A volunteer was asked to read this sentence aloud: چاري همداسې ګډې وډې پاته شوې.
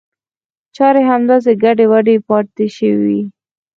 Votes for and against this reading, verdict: 0, 4, rejected